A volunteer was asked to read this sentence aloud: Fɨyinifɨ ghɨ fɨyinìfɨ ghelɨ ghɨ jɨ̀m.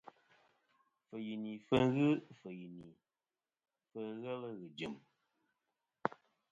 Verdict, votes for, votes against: rejected, 0, 2